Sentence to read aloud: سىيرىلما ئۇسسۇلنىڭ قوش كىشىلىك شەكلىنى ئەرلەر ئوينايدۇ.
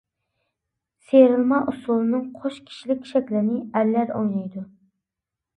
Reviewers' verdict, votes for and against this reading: rejected, 0, 2